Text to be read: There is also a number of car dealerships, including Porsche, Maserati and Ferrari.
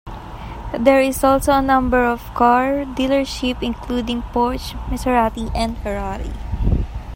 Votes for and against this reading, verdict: 0, 2, rejected